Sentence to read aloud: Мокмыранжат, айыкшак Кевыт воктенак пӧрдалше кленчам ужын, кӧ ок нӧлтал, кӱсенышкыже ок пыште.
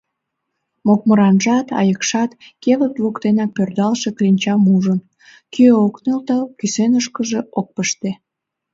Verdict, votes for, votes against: rejected, 1, 2